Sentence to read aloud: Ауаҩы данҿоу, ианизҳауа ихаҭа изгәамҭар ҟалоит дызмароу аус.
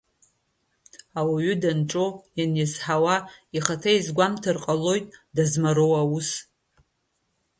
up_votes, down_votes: 1, 2